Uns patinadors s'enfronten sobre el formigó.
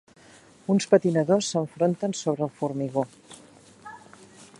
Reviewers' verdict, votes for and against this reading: accepted, 4, 0